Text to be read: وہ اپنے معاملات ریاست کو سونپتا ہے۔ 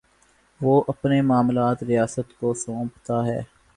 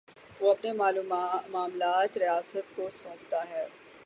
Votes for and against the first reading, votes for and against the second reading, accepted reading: 3, 0, 12, 24, first